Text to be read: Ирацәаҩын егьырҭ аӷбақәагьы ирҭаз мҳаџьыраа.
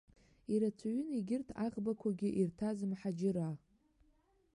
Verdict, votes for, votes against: accepted, 2, 0